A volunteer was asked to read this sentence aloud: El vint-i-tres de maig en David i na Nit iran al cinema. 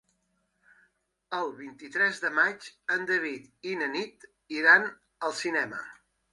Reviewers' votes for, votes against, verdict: 4, 0, accepted